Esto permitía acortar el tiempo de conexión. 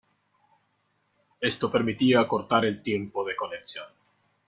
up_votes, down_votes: 2, 0